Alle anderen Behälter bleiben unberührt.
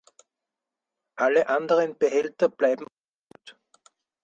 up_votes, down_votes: 2, 4